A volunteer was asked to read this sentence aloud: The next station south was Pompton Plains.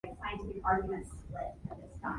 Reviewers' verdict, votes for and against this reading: rejected, 0, 2